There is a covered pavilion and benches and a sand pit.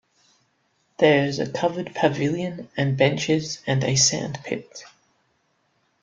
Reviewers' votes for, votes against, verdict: 2, 0, accepted